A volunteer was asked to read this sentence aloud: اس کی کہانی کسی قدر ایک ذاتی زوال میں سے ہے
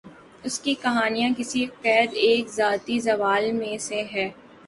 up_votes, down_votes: 2, 2